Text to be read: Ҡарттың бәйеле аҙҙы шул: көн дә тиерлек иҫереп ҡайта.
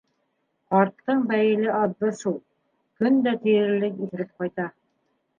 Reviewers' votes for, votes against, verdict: 2, 1, accepted